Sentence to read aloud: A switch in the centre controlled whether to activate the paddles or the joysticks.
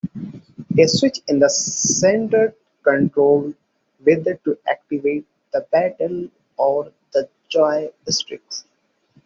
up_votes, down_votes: 1, 2